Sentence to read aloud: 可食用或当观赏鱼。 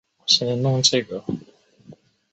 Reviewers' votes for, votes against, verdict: 2, 3, rejected